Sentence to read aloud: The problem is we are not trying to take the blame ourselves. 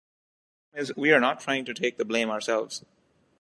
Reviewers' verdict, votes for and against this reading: rejected, 0, 2